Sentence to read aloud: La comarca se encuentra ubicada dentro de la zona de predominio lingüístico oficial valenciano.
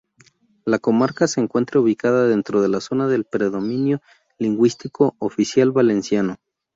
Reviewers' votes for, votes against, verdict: 0, 2, rejected